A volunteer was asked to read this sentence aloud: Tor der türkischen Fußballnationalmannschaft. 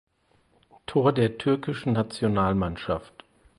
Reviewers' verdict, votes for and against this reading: rejected, 2, 4